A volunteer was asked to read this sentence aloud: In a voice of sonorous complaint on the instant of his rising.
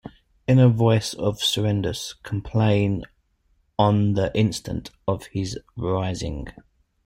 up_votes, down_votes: 0, 2